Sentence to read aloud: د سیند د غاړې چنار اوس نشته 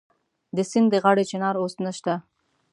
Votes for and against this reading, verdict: 3, 0, accepted